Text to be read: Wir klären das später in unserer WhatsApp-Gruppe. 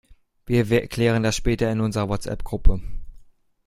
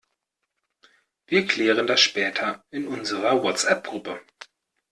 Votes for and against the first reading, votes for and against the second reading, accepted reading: 0, 2, 2, 0, second